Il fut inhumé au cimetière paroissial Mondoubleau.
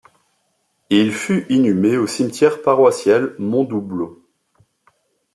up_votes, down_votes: 2, 0